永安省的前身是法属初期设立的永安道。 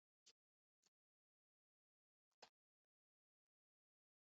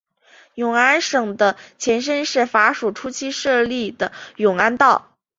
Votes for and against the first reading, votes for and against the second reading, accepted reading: 0, 2, 4, 0, second